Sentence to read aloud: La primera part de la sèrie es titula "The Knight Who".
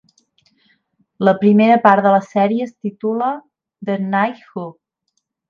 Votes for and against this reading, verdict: 2, 0, accepted